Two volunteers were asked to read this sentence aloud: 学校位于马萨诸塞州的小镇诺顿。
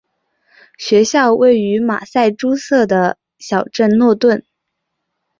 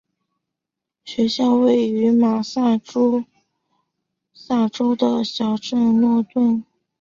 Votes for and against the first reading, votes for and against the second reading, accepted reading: 1, 2, 5, 2, second